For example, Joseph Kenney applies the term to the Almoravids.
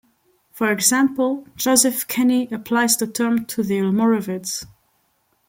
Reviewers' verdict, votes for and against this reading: accepted, 2, 0